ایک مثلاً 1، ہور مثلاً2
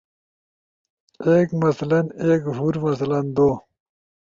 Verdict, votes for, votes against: rejected, 0, 2